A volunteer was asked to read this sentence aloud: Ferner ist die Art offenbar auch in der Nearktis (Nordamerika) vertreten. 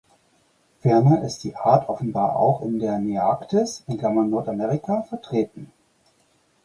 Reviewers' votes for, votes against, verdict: 0, 4, rejected